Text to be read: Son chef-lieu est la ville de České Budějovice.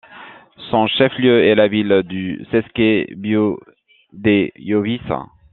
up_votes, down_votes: 1, 2